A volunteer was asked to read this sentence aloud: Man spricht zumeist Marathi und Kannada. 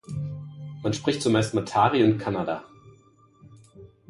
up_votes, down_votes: 1, 2